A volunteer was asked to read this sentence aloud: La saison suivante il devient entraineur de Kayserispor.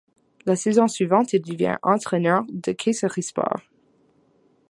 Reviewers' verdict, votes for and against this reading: accepted, 2, 0